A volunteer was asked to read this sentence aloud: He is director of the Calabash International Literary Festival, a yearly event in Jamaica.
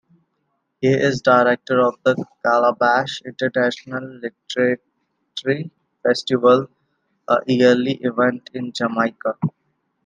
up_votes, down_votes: 1, 2